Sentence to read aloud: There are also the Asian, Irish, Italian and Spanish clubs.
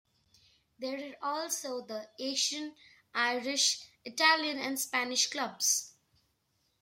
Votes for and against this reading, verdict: 1, 2, rejected